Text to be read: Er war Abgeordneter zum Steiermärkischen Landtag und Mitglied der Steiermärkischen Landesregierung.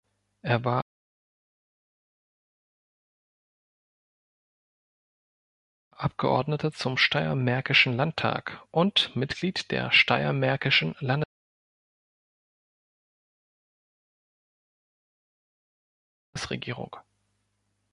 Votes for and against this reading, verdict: 0, 2, rejected